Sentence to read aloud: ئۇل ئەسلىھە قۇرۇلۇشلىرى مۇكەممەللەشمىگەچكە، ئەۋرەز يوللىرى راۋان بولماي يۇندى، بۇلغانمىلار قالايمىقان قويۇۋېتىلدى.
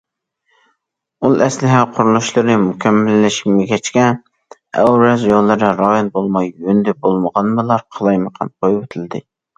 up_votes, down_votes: 1, 2